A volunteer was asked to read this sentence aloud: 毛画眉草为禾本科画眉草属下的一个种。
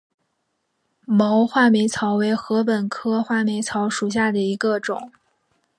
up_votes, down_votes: 3, 0